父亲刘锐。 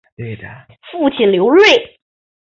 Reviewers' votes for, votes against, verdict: 3, 0, accepted